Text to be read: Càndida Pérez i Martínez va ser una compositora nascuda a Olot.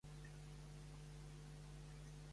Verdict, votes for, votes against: rejected, 1, 2